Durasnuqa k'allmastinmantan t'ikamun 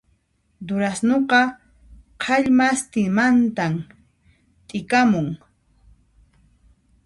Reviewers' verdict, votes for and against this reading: rejected, 1, 2